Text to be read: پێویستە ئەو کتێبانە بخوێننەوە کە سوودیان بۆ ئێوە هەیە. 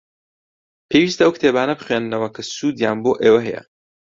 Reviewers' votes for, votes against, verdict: 2, 0, accepted